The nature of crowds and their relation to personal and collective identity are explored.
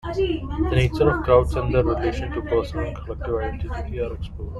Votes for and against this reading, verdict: 0, 2, rejected